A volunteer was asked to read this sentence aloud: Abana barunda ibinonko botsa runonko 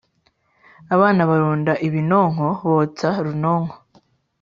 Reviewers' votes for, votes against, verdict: 2, 0, accepted